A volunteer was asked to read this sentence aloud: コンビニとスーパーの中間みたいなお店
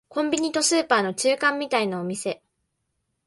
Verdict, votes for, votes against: accepted, 2, 0